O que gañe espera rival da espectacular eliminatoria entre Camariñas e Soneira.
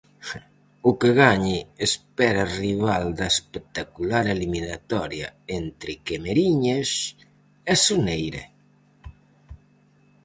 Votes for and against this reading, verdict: 2, 2, rejected